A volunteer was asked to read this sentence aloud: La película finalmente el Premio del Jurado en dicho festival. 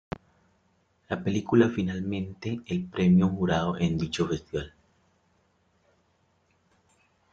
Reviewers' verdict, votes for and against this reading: rejected, 0, 2